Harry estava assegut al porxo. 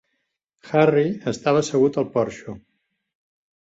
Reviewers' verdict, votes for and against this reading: accepted, 3, 0